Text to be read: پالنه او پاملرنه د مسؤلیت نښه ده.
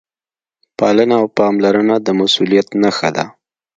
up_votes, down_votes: 3, 1